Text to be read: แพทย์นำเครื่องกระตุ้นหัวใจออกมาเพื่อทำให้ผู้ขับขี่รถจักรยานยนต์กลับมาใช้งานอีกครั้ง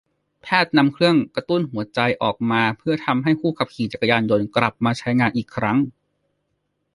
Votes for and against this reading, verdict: 1, 2, rejected